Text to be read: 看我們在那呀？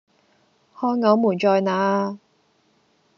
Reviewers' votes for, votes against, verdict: 2, 0, accepted